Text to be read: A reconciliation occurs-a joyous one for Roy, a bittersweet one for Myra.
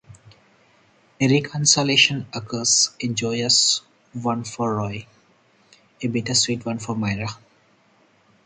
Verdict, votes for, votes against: rejected, 0, 4